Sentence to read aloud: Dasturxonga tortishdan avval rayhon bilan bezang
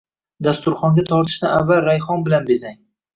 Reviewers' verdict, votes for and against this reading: accepted, 2, 0